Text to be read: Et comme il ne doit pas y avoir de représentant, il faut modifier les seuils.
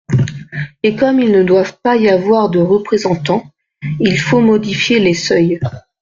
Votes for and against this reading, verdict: 0, 2, rejected